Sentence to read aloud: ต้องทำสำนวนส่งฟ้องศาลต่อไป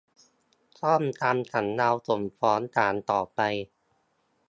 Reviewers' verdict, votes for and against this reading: rejected, 0, 2